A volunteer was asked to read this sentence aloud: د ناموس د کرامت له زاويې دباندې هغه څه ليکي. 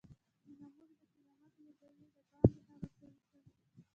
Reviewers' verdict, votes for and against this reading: rejected, 1, 2